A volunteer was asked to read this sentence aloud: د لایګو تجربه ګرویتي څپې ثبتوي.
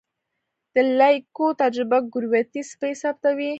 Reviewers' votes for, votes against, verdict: 1, 2, rejected